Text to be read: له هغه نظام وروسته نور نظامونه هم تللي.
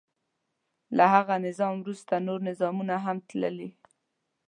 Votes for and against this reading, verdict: 2, 0, accepted